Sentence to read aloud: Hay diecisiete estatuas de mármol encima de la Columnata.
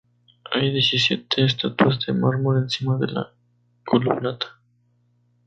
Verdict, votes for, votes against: rejected, 0, 2